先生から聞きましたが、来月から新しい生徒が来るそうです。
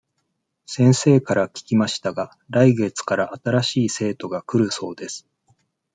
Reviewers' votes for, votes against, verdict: 2, 0, accepted